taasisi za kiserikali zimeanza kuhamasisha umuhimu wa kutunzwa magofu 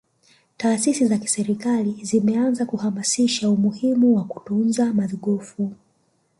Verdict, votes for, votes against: rejected, 0, 2